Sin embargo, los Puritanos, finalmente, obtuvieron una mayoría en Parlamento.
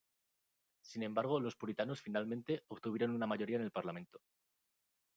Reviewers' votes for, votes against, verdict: 1, 2, rejected